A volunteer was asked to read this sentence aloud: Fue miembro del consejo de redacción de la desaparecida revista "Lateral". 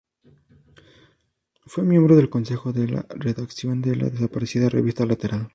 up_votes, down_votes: 0, 4